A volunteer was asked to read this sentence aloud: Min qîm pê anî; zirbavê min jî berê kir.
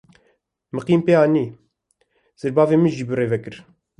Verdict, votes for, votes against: accepted, 2, 1